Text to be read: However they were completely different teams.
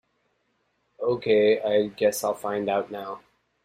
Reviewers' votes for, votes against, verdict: 0, 2, rejected